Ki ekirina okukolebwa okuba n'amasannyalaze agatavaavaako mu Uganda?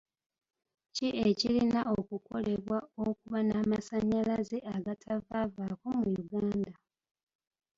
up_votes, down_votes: 0, 2